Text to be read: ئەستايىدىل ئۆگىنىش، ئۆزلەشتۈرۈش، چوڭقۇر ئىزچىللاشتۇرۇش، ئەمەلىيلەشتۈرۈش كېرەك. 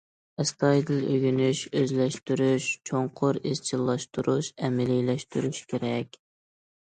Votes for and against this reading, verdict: 2, 0, accepted